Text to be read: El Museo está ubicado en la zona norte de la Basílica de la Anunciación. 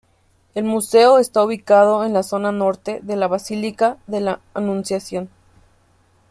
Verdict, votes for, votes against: accepted, 2, 0